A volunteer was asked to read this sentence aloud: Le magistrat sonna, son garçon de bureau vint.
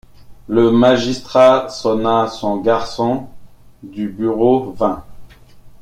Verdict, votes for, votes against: accepted, 2, 1